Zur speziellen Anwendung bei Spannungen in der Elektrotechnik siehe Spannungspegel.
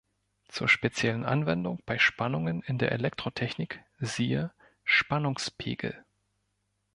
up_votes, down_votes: 2, 0